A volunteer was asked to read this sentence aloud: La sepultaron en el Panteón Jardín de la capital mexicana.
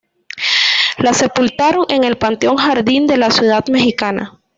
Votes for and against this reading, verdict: 1, 2, rejected